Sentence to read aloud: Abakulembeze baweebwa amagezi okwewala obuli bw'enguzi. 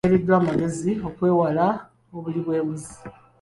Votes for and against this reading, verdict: 1, 3, rejected